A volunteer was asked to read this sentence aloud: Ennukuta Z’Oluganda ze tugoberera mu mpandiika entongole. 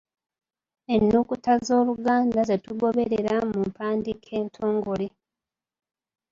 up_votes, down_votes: 1, 2